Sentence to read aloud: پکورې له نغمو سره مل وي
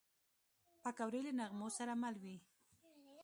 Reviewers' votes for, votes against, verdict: 2, 0, accepted